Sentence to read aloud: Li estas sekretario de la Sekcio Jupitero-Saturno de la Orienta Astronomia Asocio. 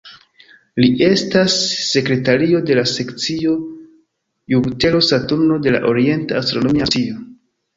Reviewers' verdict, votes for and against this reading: rejected, 1, 2